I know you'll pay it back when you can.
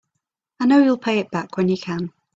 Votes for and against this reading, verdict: 3, 0, accepted